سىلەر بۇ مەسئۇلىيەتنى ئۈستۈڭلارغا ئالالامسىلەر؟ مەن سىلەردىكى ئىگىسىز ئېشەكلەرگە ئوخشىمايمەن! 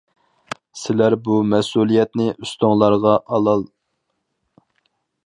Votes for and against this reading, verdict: 0, 4, rejected